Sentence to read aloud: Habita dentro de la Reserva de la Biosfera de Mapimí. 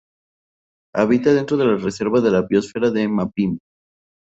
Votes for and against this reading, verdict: 0, 2, rejected